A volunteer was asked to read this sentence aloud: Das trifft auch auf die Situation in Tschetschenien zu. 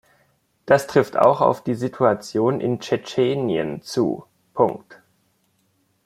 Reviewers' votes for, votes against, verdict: 0, 2, rejected